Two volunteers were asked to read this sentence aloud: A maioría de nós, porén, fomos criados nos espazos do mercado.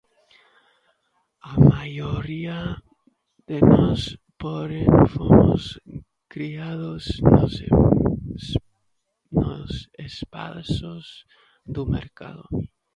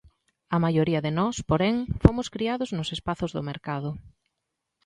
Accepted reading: second